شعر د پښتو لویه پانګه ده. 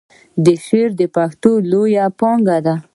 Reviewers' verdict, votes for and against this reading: accepted, 2, 0